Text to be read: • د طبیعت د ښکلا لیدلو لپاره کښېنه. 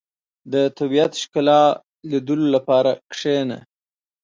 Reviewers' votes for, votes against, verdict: 1, 2, rejected